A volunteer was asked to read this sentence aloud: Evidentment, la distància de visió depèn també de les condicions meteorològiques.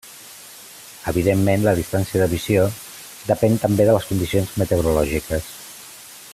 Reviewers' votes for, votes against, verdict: 3, 0, accepted